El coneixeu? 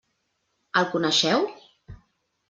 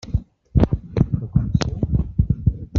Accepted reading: first